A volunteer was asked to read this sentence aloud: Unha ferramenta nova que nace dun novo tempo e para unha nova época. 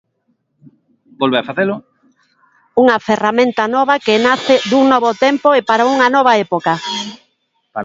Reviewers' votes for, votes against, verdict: 0, 2, rejected